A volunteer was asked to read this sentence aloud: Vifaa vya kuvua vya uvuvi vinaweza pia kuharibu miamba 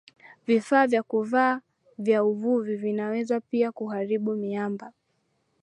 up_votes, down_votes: 0, 2